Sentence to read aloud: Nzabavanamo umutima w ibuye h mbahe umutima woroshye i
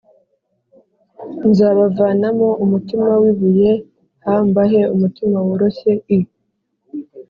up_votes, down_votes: 2, 0